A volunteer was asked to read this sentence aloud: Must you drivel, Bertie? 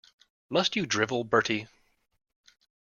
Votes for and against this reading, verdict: 2, 0, accepted